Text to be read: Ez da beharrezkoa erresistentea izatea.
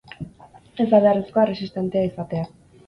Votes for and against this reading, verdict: 8, 2, accepted